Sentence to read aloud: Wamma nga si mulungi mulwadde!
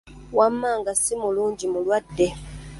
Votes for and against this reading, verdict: 2, 0, accepted